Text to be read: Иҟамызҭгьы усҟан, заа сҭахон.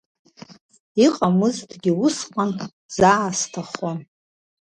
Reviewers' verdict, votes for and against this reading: accepted, 2, 1